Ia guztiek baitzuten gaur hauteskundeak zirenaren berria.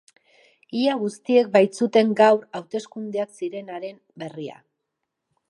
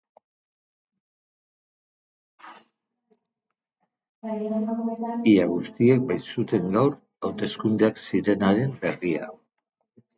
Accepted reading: first